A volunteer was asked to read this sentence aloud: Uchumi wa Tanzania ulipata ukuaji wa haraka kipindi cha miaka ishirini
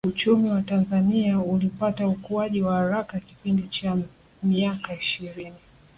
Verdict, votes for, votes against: accepted, 2, 0